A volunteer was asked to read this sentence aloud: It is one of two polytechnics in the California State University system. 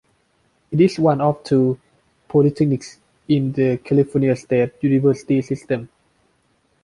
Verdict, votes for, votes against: accepted, 2, 0